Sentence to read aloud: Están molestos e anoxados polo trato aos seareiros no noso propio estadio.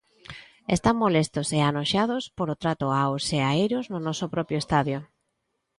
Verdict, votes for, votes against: rejected, 0, 2